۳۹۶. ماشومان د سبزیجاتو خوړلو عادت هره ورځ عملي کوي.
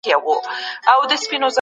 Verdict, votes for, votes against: rejected, 0, 2